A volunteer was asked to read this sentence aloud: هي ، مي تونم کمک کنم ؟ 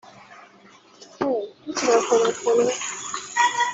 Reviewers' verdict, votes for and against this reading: rejected, 0, 2